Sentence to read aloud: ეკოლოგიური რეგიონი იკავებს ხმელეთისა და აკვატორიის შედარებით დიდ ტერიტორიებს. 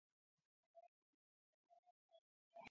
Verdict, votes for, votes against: accepted, 2, 1